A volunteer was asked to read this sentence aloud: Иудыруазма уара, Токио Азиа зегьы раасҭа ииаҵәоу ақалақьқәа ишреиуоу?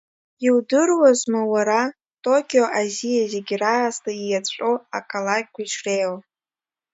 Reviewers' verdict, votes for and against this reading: accepted, 2, 1